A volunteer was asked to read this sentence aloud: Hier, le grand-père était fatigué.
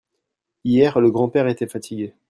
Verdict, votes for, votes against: accepted, 2, 0